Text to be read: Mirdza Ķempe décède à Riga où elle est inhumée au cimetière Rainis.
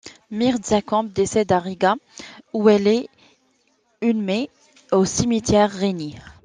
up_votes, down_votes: 1, 2